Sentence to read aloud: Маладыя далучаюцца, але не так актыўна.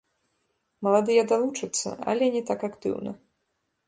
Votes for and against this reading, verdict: 1, 2, rejected